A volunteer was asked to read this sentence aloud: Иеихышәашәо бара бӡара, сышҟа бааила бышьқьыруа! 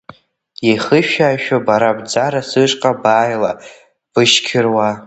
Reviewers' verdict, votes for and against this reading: rejected, 0, 2